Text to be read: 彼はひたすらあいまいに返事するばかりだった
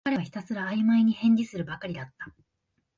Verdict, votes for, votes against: accepted, 5, 0